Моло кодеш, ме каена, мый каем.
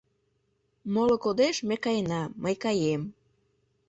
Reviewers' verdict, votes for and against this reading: accepted, 2, 0